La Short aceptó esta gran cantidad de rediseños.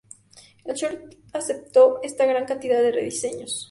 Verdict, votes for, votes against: accepted, 2, 0